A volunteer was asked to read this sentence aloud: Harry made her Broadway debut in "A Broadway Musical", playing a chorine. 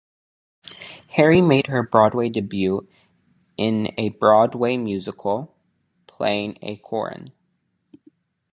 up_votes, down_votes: 0, 2